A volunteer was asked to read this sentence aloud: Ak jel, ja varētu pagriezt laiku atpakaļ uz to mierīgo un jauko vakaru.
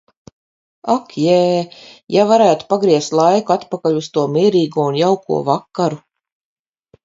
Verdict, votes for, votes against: rejected, 0, 4